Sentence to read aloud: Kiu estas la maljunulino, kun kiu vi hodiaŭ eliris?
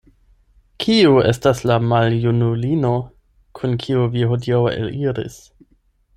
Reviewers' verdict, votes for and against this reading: accepted, 8, 0